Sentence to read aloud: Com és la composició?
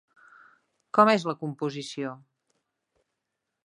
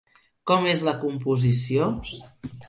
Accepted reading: first